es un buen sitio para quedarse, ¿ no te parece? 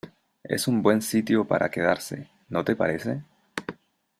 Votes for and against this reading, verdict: 2, 0, accepted